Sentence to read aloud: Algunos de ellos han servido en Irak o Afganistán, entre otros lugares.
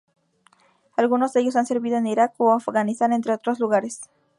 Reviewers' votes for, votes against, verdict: 2, 0, accepted